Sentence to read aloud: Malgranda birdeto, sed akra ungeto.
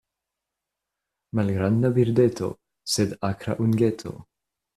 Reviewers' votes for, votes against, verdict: 2, 0, accepted